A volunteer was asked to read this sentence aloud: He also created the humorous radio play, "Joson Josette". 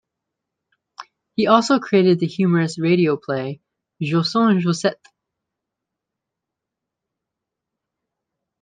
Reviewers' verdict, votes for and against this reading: accepted, 2, 0